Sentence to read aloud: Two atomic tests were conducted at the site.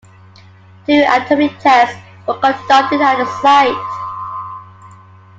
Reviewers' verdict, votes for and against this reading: accepted, 2, 1